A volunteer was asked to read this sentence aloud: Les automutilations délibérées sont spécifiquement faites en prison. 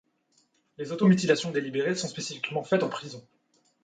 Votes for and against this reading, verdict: 0, 2, rejected